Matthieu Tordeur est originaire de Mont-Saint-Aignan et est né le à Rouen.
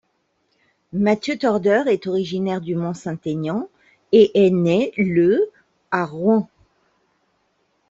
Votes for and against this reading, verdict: 1, 2, rejected